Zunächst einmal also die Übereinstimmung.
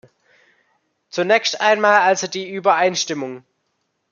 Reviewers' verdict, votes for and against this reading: accepted, 2, 0